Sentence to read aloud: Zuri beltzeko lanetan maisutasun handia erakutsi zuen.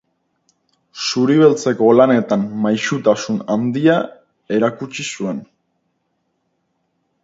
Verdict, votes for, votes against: rejected, 2, 2